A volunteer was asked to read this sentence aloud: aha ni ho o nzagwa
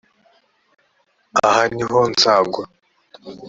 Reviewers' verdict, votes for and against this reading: accepted, 2, 0